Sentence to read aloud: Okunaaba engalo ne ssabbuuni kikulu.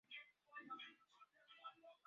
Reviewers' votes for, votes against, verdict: 0, 2, rejected